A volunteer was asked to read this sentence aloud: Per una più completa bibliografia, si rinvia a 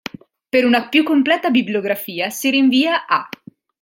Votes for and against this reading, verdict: 2, 0, accepted